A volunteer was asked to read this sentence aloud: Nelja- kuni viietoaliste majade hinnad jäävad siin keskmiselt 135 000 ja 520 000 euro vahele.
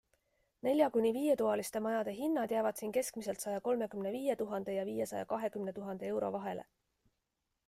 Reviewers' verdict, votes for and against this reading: rejected, 0, 2